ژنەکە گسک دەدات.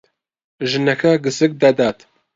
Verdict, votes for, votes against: accepted, 2, 0